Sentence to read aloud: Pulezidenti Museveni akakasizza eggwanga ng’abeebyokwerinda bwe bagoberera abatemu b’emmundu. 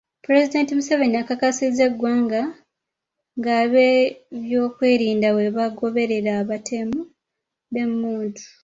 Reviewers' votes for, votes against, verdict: 0, 2, rejected